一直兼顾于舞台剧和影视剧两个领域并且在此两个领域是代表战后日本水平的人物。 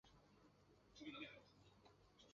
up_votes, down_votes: 0, 3